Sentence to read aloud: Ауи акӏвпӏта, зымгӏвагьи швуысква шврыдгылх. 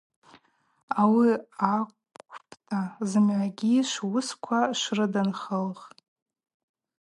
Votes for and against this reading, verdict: 0, 2, rejected